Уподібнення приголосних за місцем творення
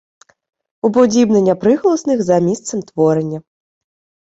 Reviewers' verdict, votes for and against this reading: accepted, 2, 0